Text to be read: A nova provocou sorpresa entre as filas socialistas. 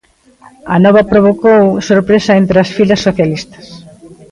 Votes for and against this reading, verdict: 1, 2, rejected